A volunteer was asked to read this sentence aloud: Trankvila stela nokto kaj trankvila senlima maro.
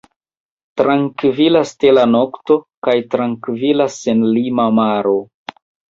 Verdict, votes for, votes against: rejected, 0, 2